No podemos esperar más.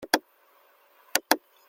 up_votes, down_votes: 0, 2